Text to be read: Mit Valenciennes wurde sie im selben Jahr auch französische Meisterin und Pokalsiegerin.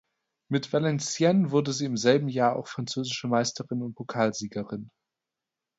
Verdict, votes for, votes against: accepted, 2, 0